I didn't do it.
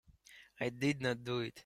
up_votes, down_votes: 0, 3